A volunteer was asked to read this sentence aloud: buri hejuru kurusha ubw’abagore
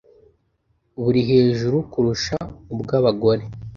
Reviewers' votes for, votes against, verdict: 2, 0, accepted